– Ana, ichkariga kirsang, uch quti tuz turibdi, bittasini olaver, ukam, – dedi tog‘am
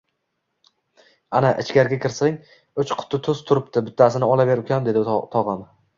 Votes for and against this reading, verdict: 2, 0, accepted